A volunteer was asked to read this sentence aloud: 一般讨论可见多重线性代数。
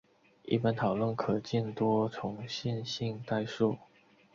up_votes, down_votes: 2, 0